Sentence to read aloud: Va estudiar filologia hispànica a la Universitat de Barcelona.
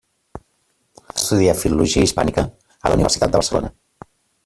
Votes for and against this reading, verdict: 0, 2, rejected